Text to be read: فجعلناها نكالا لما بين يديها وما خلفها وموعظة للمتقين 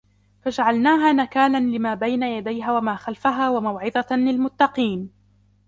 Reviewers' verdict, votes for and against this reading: accepted, 2, 0